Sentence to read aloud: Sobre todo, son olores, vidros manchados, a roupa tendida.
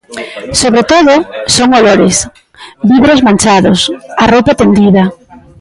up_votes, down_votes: 0, 2